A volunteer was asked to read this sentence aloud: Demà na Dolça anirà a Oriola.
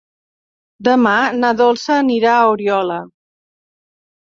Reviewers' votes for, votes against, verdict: 3, 0, accepted